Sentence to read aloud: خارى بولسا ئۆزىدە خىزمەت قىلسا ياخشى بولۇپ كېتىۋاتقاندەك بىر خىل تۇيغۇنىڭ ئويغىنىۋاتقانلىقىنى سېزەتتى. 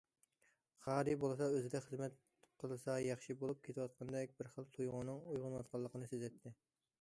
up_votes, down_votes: 2, 0